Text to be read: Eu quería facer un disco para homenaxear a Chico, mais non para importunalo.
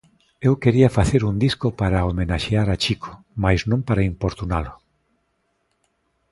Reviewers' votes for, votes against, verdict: 2, 0, accepted